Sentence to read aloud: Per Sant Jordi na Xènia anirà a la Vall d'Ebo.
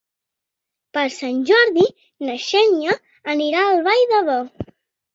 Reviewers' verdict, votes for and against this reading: rejected, 1, 2